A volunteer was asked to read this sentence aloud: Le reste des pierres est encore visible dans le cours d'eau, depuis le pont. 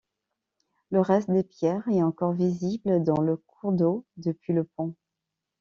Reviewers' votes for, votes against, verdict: 2, 1, accepted